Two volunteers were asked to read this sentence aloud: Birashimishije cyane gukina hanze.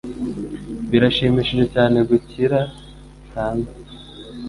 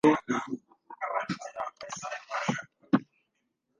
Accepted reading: first